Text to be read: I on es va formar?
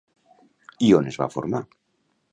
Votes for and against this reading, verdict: 2, 0, accepted